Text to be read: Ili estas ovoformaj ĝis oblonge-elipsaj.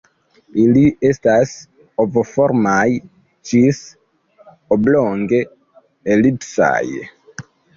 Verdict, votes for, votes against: rejected, 0, 2